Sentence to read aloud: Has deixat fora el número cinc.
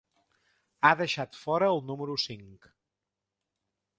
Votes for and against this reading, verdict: 1, 2, rejected